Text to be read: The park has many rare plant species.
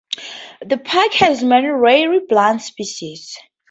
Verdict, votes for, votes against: accepted, 2, 0